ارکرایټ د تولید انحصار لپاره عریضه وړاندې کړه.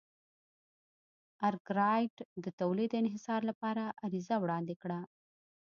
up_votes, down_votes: 2, 0